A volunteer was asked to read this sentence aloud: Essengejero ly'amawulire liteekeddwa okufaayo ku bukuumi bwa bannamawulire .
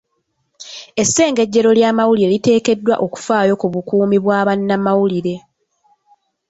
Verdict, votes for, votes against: accepted, 2, 0